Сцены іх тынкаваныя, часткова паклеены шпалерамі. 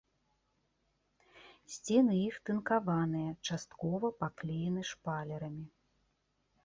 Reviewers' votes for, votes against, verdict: 2, 1, accepted